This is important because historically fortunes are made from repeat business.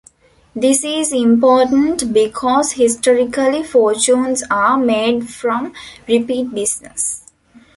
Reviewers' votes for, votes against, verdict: 2, 0, accepted